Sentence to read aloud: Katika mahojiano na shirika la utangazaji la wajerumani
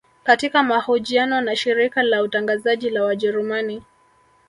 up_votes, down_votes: 2, 0